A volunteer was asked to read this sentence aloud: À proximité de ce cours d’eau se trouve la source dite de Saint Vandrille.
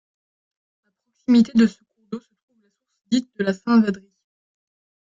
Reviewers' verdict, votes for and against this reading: rejected, 0, 2